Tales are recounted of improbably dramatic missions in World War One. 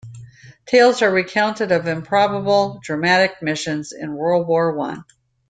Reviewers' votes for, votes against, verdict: 1, 2, rejected